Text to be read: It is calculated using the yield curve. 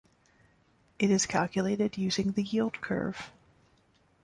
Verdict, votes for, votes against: accepted, 2, 0